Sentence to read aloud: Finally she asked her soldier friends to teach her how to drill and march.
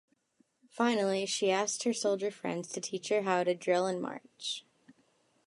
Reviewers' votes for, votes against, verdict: 2, 0, accepted